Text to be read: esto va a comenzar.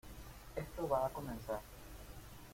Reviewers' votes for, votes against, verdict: 1, 2, rejected